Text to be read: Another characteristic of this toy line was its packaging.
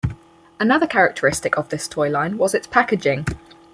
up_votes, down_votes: 4, 2